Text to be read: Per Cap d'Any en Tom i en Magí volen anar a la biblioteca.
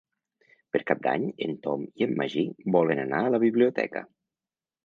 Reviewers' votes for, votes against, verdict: 3, 0, accepted